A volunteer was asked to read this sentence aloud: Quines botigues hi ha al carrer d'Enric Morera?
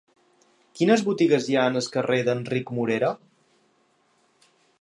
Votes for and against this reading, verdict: 1, 2, rejected